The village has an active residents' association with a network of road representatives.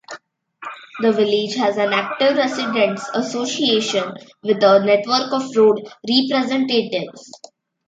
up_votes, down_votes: 1, 2